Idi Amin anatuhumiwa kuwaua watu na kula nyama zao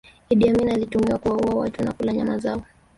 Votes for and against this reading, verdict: 2, 3, rejected